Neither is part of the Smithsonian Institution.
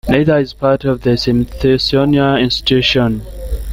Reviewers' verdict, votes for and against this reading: rejected, 0, 2